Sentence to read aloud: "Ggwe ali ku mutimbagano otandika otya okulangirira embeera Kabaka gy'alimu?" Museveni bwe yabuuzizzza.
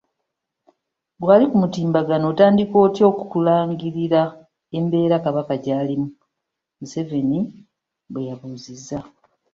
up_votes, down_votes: 2, 0